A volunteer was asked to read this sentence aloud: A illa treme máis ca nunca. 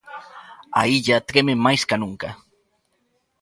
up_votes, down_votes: 2, 0